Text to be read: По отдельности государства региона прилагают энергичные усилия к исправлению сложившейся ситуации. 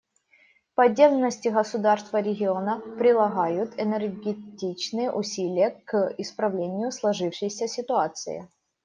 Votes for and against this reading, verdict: 0, 2, rejected